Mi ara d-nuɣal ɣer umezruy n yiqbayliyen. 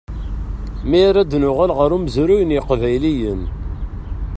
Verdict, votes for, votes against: accepted, 2, 0